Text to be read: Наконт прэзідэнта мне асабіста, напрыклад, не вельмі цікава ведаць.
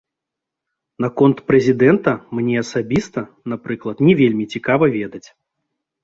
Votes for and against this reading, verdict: 2, 0, accepted